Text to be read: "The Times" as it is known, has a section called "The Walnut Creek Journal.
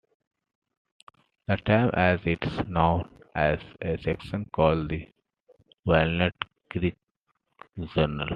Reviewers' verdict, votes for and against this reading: rejected, 1, 2